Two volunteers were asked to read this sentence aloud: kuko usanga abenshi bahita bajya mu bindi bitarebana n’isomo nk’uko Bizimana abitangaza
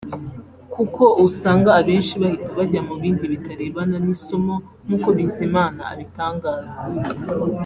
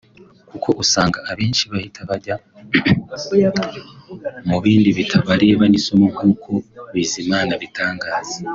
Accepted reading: first